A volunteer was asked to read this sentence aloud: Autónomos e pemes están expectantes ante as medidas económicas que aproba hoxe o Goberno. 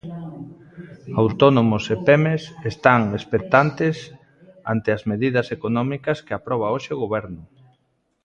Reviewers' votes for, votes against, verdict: 2, 1, accepted